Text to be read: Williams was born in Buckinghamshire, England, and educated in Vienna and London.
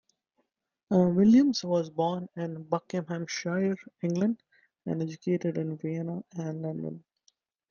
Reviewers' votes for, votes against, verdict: 2, 1, accepted